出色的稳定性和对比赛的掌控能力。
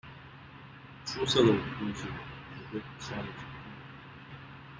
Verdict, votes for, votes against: rejected, 1, 2